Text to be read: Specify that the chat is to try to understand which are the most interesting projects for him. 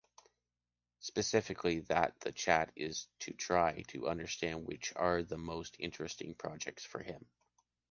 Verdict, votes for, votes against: rejected, 0, 2